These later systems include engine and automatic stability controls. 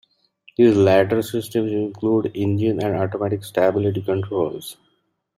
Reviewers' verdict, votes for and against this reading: accepted, 2, 0